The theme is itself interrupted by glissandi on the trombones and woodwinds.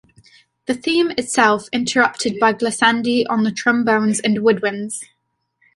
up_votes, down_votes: 1, 2